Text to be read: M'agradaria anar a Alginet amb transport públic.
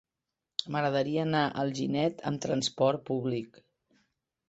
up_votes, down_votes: 2, 0